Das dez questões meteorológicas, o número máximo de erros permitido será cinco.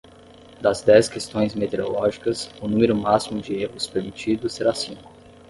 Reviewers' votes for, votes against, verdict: 10, 0, accepted